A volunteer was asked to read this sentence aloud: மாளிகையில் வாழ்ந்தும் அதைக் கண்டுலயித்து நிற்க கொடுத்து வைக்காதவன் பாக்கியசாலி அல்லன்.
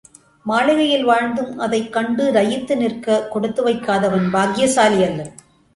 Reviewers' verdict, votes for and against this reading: accepted, 2, 0